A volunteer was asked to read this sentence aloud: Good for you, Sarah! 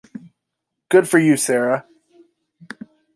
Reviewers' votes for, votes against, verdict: 2, 0, accepted